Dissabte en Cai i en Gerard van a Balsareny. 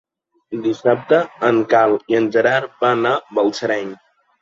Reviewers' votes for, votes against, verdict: 0, 3, rejected